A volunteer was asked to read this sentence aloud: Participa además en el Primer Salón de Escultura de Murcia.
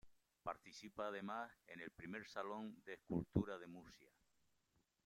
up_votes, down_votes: 2, 0